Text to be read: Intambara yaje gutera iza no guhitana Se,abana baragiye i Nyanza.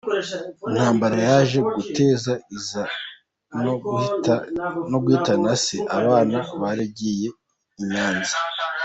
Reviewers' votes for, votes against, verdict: 0, 2, rejected